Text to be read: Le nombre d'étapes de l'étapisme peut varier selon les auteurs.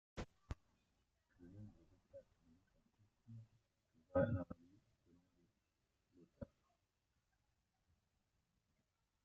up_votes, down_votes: 0, 2